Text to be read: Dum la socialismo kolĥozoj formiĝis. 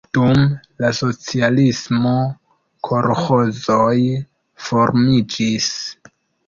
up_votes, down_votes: 2, 0